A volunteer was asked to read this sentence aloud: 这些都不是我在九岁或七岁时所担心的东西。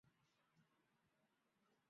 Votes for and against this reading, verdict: 0, 4, rejected